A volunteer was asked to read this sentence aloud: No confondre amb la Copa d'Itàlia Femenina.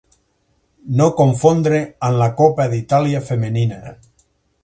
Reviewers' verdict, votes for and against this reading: rejected, 2, 4